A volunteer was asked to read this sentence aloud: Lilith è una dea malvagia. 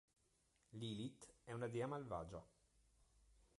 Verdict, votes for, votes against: rejected, 1, 2